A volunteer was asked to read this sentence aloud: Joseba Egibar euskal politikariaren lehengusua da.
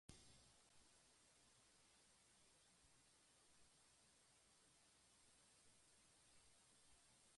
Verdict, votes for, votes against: rejected, 0, 2